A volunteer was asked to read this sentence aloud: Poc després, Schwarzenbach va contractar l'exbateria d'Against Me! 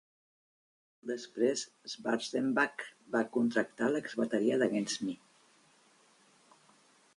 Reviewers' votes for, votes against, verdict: 1, 3, rejected